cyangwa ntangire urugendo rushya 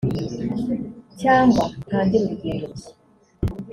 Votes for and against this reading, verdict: 1, 2, rejected